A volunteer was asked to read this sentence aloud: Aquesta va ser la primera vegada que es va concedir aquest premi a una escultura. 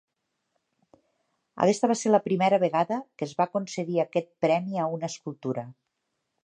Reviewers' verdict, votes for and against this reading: rejected, 1, 2